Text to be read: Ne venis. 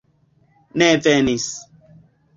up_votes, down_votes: 2, 1